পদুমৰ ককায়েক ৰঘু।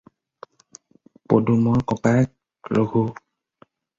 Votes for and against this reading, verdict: 4, 0, accepted